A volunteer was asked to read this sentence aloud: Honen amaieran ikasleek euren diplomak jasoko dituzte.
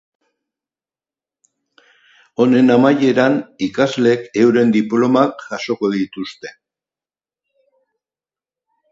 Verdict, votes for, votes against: accepted, 4, 0